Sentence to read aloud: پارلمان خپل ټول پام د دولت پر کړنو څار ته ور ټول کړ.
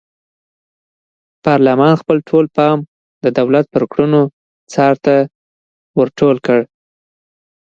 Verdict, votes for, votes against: accepted, 2, 0